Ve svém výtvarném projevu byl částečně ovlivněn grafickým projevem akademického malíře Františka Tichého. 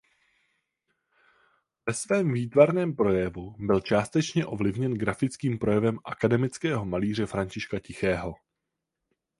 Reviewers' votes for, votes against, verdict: 4, 0, accepted